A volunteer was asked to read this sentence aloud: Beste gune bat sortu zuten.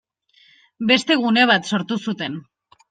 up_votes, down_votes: 2, 0